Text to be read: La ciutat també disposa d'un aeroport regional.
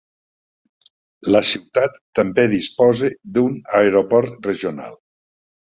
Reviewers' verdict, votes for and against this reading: accepted, 3, 0